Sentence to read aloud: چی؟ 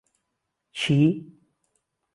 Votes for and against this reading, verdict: 2, 0, accepted